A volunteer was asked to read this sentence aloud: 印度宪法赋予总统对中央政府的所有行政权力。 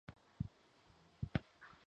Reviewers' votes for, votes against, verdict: 0, 4, rejected